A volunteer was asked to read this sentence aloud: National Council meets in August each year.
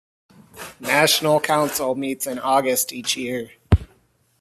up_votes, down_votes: 2, 0